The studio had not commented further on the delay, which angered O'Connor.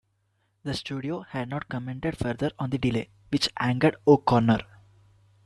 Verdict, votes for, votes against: accepted, 2, 0